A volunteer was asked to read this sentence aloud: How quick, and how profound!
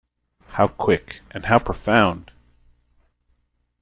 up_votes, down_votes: 2, 0